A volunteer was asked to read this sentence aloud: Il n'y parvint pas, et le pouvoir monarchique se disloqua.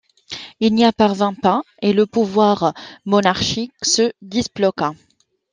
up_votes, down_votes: 1, 2